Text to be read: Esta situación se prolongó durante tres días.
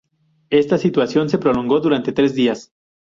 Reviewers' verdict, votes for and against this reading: accepted, 4, 0